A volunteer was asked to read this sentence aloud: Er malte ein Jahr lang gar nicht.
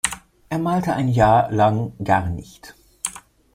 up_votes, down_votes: 2, 0